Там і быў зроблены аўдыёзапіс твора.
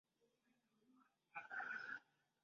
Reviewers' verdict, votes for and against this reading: rejected, 0, 2